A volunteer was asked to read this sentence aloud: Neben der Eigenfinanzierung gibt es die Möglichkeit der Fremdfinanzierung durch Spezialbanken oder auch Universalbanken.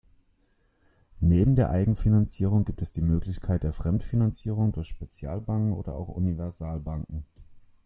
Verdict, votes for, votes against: accepted, 2, 0